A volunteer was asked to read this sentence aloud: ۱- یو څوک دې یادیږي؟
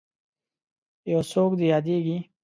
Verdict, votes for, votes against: rejected, 0, 2